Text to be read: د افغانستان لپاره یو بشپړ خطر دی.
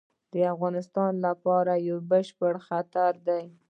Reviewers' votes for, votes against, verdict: 0, 2, rejected